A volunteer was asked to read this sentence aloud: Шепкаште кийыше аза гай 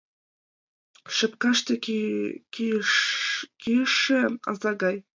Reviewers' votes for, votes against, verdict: 0, 4, rejected